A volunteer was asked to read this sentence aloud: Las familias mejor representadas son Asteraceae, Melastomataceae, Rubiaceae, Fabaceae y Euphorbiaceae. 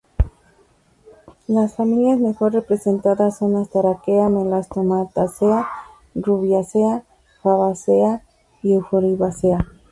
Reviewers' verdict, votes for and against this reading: accepted, 4, 2